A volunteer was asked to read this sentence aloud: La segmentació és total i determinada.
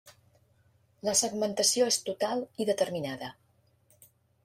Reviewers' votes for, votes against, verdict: 3, 0, accepted